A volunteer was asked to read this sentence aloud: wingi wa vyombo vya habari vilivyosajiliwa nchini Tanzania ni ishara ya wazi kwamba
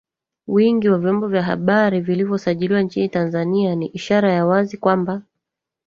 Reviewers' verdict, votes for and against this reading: rejected, 1, 2